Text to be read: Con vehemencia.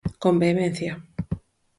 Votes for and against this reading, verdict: 4, 0, accepted